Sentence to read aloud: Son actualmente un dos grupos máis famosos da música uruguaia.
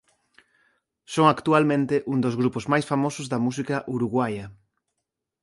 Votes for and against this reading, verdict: 2, 0, accepted